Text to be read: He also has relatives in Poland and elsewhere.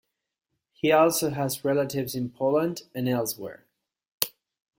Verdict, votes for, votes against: accepted, 2, 0